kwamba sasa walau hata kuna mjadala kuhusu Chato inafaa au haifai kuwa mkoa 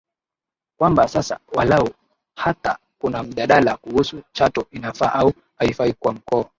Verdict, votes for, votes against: accepted, 6, 1